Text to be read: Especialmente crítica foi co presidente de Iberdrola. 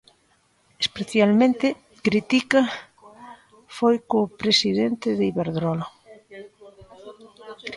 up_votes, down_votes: 0, 2